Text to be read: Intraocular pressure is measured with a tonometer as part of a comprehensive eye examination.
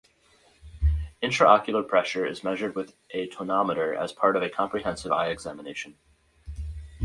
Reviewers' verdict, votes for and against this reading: accepted, 2, 0